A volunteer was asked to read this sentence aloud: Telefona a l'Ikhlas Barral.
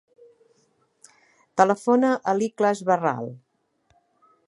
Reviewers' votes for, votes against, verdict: 3, 0, accepted